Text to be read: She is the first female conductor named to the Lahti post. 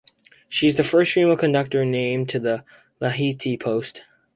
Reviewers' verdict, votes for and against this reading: rejected, 0, 2